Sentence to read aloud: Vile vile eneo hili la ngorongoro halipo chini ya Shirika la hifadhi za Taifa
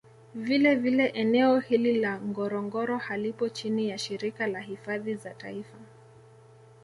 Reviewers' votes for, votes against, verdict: 2, 0, accepted